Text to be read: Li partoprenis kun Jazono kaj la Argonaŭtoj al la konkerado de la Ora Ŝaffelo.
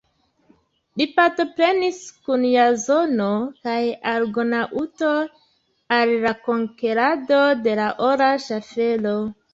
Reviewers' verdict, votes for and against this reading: rejected, 1, 2